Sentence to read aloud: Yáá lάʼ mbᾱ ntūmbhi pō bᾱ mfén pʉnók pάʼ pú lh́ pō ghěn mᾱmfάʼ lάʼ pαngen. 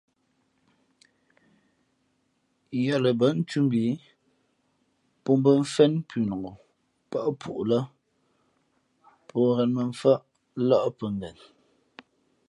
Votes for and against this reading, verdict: 0, 2, rejected